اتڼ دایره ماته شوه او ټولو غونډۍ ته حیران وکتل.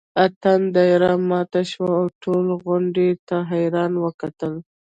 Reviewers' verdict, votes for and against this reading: rejected, 1, 2